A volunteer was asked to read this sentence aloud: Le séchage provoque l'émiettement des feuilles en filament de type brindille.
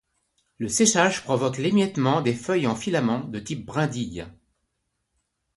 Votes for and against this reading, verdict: 2, 0, accepted